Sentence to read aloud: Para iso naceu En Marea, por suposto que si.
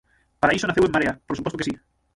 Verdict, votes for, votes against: rejected, 0, 6